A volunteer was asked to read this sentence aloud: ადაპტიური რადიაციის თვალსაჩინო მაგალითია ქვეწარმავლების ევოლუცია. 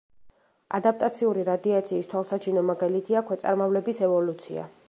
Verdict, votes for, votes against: rejected, 1, 2